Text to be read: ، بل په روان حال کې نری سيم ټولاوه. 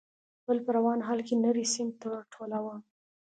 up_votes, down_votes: 2, 0